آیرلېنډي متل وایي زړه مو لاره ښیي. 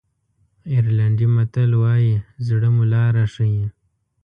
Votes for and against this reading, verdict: 2, 0, accepted